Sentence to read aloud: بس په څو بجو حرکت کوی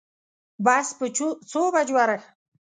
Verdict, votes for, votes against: rejected, 1, 2